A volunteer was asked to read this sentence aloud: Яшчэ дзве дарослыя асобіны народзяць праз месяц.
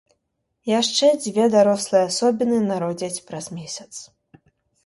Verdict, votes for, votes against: accepted, 2, 0